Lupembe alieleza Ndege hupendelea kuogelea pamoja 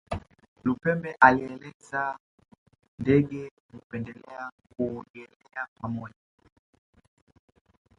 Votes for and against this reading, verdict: 1, 2, rejected